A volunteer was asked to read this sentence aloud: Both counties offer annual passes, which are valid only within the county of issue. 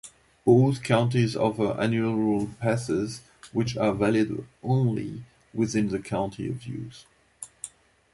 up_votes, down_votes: 0, 2